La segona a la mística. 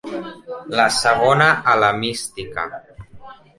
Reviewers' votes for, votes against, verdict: 3, 0, accepted